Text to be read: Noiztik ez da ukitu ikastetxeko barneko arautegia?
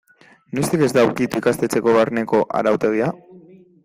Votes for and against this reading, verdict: 0, 2, rejected